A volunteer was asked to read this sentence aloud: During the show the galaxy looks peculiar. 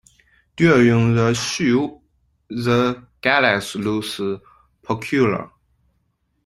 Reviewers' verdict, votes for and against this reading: rejected, 0, 2